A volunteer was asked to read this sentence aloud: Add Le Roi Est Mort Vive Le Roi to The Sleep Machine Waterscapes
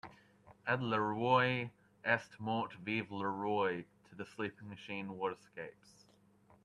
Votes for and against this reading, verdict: 2, 0, accepted